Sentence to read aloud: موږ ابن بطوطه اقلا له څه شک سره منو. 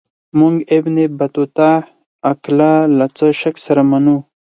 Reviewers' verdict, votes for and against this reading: accepted, 4, 2